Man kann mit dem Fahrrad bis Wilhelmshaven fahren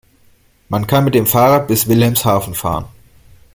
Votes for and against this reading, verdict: 2, 0, accepted